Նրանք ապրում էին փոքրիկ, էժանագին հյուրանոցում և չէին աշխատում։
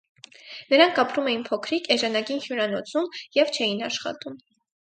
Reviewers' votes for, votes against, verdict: 4, 0, accepted